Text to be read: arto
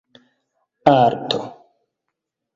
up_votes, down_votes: 2, 0